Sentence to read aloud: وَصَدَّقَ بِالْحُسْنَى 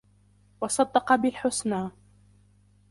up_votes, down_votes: 3, 1